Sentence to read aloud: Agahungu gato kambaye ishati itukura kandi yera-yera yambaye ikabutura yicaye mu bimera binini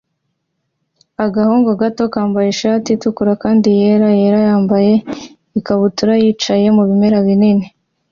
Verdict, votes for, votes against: accepted, 2, 0